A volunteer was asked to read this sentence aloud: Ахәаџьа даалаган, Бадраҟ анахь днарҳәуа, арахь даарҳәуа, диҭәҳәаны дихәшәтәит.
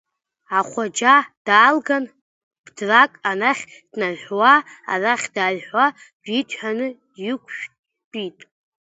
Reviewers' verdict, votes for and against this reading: rejected, 1, 2